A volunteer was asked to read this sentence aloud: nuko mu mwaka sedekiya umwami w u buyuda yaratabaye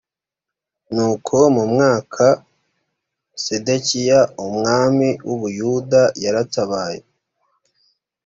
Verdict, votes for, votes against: accepted, 2, 0